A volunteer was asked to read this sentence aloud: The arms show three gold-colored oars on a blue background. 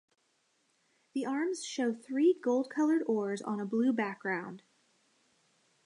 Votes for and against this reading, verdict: 1, 2, rejected